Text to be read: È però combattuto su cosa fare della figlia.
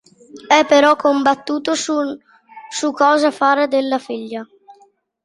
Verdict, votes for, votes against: rejected, 0, 2